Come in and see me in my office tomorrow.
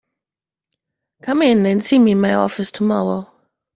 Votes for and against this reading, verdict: 2, 1, accepted